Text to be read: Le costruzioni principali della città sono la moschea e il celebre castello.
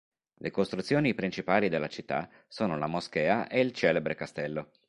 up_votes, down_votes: 4, 0